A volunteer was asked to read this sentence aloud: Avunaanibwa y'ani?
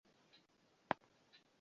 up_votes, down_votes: 0, 2